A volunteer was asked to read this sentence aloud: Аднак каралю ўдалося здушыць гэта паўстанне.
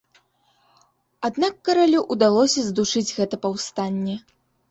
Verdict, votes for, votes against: accepted, 2, 0